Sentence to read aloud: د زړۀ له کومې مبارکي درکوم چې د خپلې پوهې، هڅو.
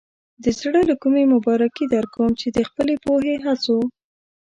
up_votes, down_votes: 2, 0